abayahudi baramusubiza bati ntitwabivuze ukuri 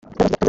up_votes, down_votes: 0, 2